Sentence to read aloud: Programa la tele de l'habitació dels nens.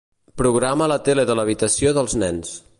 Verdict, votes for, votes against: accepted, 2, 0